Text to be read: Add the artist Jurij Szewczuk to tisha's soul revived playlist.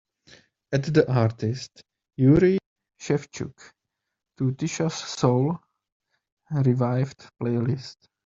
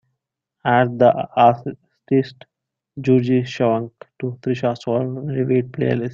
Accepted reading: first